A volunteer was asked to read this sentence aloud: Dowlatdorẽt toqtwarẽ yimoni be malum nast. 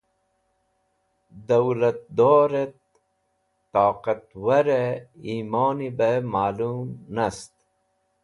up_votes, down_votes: 2, 0